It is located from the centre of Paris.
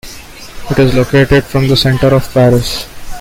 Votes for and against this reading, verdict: 2, 1, accepted